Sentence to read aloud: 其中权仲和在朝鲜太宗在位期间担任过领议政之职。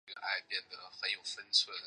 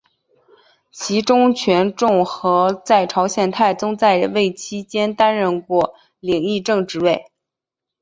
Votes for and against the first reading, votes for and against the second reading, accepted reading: 0, 2, 2, 0, second